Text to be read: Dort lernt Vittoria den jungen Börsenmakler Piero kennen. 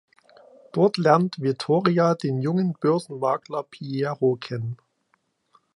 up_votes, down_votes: 2, 0